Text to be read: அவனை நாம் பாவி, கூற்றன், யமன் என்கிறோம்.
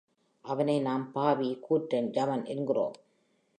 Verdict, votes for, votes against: accepted, 3, 0